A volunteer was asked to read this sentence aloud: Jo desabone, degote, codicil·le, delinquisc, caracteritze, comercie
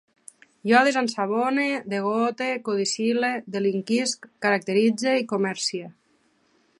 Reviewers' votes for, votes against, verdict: 3, 4, rejected